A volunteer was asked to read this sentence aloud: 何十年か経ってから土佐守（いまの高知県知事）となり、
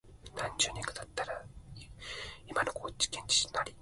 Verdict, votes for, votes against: rejected, 4, 9